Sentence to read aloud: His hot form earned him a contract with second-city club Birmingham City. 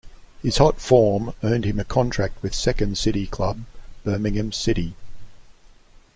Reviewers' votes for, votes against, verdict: 2, 0, accepted